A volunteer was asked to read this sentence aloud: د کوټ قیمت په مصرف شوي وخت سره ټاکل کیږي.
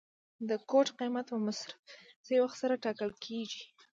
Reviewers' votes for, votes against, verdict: 2, 0, accepted